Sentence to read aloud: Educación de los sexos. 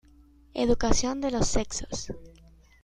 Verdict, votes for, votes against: accepted, 2, 0